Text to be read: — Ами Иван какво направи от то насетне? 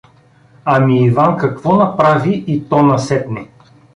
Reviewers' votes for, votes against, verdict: 1, 2, rejected